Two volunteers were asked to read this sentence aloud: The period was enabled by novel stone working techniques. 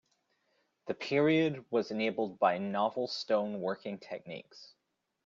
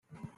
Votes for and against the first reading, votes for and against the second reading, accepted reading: 2, 0, 0, 2, first